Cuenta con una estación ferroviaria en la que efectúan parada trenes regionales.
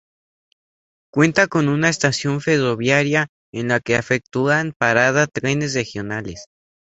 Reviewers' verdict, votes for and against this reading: rejected, 0, 2